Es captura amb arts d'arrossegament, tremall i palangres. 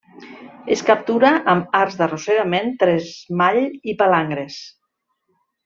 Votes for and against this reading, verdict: 0, 2, rejected